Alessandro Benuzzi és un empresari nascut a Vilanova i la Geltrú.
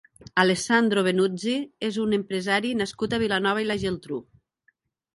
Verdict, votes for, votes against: accepted, 2, 0